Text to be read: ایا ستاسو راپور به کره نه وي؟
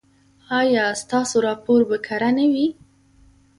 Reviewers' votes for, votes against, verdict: 2, 0, accepted